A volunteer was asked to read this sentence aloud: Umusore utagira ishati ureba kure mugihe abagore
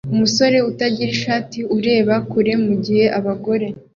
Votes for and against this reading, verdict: 2, 0, accepted